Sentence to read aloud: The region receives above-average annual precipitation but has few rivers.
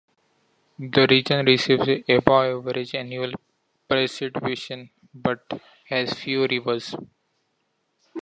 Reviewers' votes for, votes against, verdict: 1, 2, rejected